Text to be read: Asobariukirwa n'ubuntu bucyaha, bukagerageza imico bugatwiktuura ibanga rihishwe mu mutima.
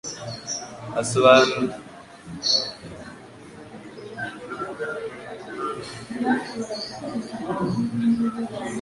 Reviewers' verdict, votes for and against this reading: rejected, 2, 3